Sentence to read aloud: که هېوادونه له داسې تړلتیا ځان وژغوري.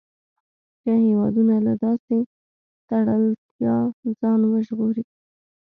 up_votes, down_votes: 2, 0